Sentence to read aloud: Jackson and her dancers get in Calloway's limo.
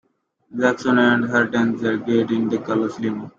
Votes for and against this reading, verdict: 2, 1, accepted